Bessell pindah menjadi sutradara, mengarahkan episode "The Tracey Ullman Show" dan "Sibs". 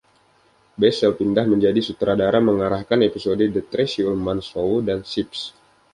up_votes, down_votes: 2, 0